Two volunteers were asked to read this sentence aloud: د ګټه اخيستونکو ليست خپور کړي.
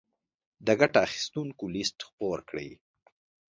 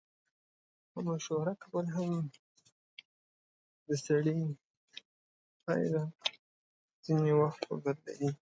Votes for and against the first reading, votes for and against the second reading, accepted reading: 2, 1, 0, 2, first